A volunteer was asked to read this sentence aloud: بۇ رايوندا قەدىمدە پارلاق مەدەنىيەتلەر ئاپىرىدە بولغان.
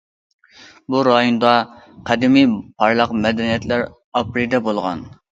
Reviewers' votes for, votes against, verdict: 0, 2, rejected